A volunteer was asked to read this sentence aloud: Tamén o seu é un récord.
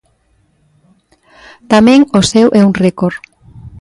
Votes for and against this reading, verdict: 3, 0, accepted